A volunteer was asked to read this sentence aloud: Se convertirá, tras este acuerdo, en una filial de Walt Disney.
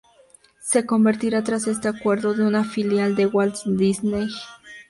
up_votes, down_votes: 2, 2